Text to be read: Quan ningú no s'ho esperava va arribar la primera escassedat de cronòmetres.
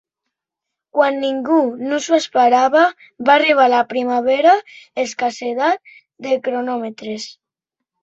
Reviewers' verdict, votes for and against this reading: rejected, 0, 2